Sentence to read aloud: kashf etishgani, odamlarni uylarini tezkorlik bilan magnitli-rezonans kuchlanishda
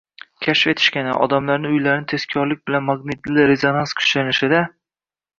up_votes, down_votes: 2, 1